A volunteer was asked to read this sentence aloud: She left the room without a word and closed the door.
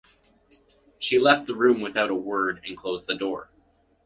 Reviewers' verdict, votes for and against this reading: accepted, 2, 0